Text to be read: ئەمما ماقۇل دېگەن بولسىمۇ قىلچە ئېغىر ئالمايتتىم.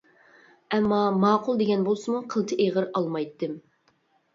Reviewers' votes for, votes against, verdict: 2, 0, accepted